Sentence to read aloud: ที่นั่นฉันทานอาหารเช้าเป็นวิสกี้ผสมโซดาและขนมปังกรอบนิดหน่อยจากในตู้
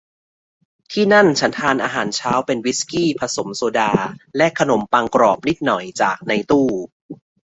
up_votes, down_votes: 2, 0